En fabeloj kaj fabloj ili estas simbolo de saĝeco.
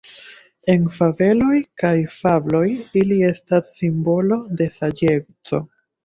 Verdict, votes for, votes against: accepted, 2, 0